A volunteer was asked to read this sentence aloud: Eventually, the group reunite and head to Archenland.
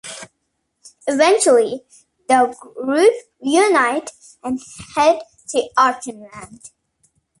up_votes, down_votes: 0, 2